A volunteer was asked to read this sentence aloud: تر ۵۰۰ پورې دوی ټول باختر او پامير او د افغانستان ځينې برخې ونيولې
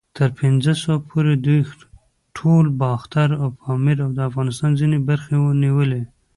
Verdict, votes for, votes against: rejected, 0, 2